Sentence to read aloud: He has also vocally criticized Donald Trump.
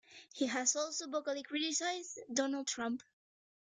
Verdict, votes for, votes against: rejected, 1, 2